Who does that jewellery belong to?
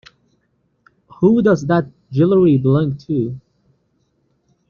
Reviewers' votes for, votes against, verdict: 1, 2, rejected